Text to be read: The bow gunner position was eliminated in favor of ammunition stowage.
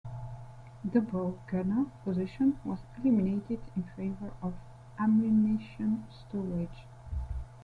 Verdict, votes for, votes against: accepted, 2, 1